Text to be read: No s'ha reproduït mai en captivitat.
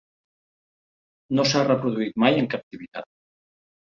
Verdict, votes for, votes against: accepted, 2, 0